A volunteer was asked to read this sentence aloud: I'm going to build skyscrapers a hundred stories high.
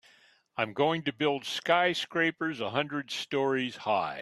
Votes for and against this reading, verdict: 2, 0, accepted